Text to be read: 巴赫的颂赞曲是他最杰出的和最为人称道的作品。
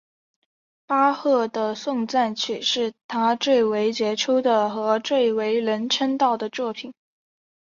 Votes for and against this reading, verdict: 2, 1, accepted